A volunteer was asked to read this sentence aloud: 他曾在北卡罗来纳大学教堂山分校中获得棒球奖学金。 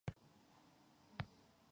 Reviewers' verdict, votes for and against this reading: rejected, 0, 2